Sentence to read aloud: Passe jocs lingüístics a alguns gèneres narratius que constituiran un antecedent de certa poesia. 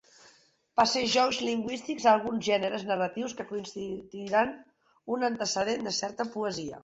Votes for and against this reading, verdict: 0, 2, rejected